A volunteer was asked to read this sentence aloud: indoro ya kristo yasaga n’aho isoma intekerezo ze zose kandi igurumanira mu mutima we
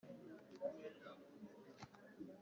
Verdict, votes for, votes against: rejected, 0, 2